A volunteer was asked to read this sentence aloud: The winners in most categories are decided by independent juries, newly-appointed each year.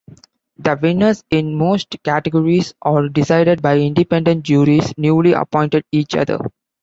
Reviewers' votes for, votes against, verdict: 1, 3, rejected